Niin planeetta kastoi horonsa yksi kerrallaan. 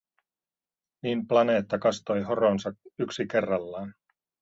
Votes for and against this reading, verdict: 2, 0, accepted